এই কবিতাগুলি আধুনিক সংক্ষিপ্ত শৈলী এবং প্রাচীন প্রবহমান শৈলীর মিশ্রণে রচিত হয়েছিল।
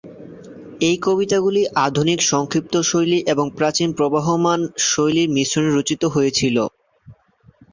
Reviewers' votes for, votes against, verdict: 0, 2, rejected